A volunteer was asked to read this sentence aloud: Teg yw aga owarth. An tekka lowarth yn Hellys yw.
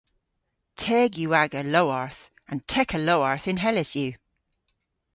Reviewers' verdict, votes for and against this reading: rejected, 1, 2